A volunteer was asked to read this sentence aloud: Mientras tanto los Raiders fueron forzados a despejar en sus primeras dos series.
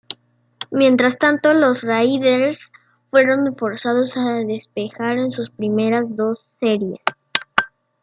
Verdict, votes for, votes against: rejected, 1, 2